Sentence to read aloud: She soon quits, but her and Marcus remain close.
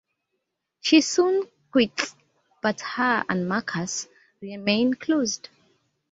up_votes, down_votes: 0, 2